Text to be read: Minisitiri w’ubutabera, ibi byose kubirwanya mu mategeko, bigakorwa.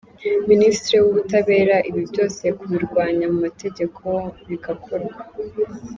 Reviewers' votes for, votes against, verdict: 2, 0, accepted